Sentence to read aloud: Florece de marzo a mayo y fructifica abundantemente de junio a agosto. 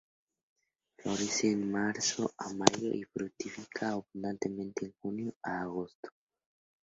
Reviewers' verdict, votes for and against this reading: accepted, 4, 0